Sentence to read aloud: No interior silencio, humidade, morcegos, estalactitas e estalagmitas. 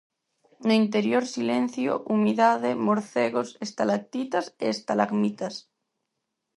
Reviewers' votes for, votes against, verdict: 4, 0, accepted